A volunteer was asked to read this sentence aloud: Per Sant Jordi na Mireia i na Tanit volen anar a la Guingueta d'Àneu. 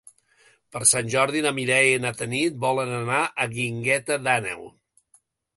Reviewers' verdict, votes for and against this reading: rejected, 1, 2